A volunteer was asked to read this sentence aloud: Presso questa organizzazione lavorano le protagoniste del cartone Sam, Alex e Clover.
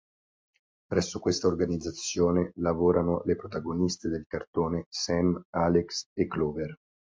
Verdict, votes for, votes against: accepted, 2, 0